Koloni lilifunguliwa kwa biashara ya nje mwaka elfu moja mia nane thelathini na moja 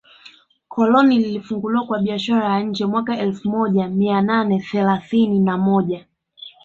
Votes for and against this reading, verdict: 2, 0, accepted